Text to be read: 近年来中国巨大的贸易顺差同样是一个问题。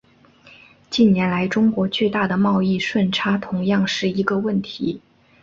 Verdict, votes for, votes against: accepted, 3, 0